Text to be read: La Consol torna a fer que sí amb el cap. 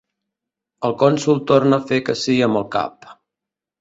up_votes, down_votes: 1, 2